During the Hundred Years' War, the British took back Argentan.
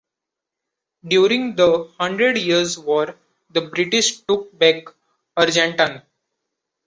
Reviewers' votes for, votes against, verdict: 2, 0, accepted